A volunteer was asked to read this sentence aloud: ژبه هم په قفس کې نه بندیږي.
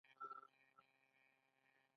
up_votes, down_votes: 2, 1